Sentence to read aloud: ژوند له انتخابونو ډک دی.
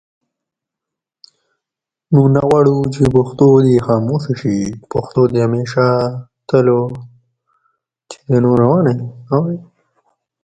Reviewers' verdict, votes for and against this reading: rejected, 0, 3